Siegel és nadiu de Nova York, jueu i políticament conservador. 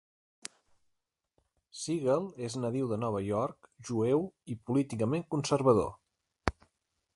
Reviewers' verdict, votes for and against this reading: accepted, 2, 0